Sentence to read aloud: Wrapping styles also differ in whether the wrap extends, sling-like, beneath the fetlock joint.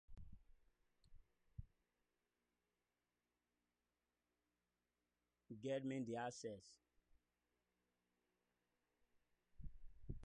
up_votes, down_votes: 0, 2